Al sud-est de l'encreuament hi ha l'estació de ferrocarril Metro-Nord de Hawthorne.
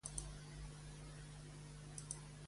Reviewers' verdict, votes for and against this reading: rejected, 0, 2